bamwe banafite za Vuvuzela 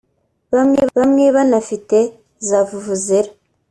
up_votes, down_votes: 2, 3